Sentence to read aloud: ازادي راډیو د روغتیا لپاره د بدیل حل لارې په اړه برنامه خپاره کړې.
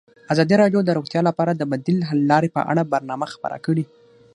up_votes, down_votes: 6, 3